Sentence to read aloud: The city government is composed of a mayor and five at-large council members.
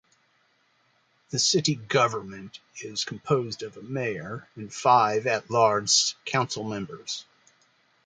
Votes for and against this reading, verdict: 2, 1, accepted